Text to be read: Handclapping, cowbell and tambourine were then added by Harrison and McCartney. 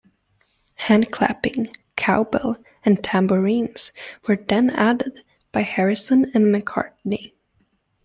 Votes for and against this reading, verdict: 1, 2, rejected